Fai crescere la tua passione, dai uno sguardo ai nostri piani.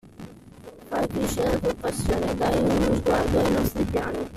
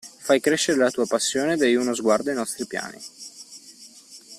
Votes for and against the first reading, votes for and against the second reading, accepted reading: 0, 2, 2, 0, second